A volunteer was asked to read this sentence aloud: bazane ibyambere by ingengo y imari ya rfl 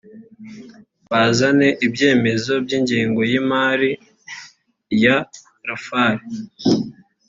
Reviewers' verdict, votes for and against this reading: accepted, 2, 0